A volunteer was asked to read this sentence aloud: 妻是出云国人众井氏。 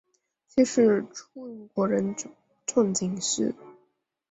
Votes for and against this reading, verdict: 0, 2, rejected